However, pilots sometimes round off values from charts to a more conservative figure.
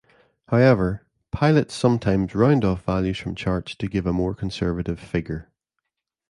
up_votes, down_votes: 0, 2